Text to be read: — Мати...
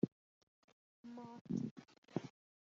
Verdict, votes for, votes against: rejected, 0, 2